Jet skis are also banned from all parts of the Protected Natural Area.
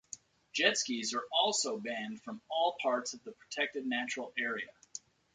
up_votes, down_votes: 3, 0